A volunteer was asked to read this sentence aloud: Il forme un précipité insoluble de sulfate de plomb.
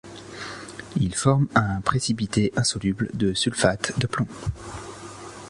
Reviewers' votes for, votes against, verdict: 2, 0, accepted